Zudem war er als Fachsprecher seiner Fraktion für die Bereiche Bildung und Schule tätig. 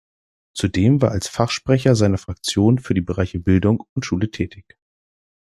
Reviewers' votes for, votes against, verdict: 1, 2, rejected